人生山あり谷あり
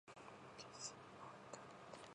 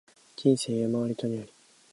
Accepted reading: second